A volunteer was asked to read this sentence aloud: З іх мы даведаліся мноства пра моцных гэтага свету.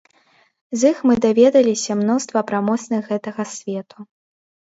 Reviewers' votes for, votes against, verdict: 2, 0, accepted